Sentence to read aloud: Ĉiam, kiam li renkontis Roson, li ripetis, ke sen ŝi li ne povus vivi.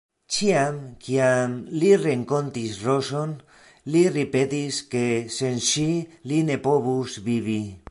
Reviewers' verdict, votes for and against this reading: rejected, 1, 2